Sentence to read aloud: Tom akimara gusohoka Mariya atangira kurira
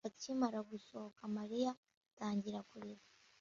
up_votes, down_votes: 0, 2